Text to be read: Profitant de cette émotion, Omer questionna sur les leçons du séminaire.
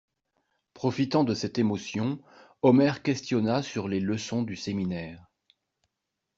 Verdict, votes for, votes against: accepted, 3, 0